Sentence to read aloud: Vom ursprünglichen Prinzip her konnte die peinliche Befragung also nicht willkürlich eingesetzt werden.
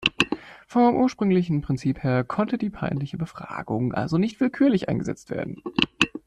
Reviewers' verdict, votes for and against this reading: accepted, 2, 0